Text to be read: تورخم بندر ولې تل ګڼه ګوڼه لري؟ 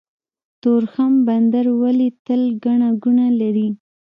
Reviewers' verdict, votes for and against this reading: rejected, 1, 2